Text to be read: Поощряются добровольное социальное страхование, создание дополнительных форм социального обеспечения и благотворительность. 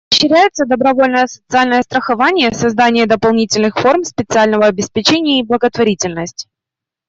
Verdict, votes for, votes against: rejected, 0, 2